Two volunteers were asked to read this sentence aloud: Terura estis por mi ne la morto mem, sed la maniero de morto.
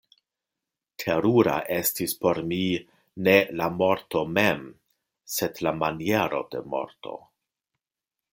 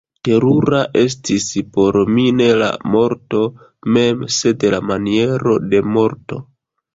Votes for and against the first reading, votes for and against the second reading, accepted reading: 2, 0, 0, 2, first